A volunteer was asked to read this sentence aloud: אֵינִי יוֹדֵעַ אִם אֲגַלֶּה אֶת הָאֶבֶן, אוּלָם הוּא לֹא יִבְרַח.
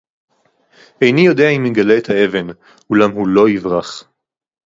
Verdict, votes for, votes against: rejected, 2, 4